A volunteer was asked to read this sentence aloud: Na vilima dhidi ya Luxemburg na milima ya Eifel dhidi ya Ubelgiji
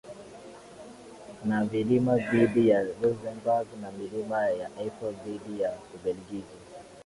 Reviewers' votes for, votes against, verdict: 2, 0, accepted